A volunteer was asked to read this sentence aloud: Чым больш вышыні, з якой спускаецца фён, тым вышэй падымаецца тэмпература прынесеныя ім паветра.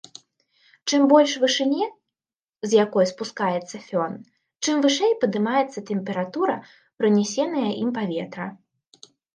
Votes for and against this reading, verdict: 0, 2, rejected